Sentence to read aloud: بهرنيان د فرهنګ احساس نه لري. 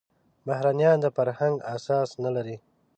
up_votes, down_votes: 1, 2